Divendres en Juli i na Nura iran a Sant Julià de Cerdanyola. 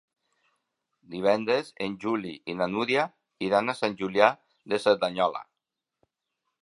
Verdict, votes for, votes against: rejected, 2, 3